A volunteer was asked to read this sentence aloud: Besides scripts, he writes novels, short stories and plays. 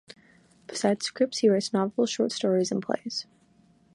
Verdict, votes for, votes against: accepted, 2, 1